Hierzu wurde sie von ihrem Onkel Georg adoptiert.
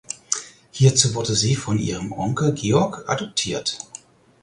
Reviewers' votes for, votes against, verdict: 4, 0, accepted